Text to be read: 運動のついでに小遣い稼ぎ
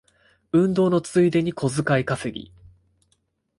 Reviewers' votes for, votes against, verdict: 2, 0, accepted